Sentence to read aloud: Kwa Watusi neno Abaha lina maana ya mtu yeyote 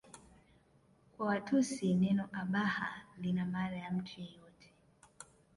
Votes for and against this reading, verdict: 2, 0, accepted